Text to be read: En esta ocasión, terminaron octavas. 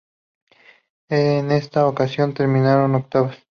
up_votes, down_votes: 0, 2